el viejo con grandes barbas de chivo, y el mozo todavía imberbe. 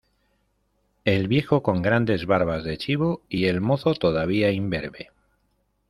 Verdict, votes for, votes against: accepted, 2, 0